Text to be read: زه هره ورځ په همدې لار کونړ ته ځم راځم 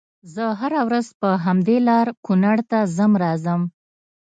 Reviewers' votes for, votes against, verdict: 2, 0, accepted